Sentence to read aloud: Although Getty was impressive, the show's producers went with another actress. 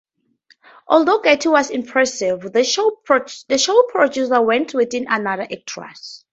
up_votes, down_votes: 0, 2